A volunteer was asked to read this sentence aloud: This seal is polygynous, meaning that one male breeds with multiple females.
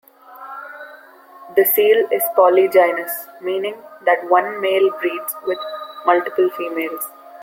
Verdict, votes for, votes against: rejected, 1, 2